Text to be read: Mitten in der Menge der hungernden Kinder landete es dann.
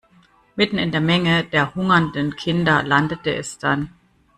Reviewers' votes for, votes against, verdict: 2, 0, accepted